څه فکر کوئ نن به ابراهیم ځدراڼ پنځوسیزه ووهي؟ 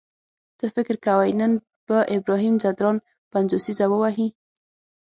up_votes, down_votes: 6, 0